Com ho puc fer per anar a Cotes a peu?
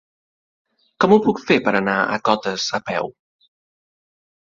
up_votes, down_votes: 5, 0